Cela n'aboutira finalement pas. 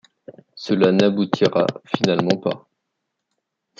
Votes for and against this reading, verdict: 1, 2, rejected